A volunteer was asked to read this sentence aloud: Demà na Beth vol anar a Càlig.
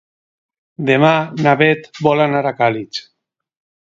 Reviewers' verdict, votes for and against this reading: rejected, 2, 2